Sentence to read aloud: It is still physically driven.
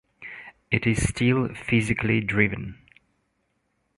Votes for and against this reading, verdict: 2, 0, accepted